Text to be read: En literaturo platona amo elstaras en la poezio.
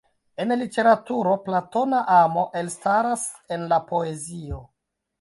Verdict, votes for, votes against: rejected, 0, 2